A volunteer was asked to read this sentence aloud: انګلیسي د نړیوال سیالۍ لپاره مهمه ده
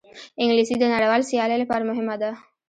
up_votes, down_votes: 0, 2